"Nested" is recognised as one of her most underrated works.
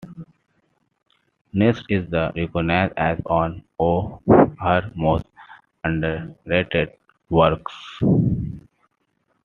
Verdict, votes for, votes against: rejected, 0, 2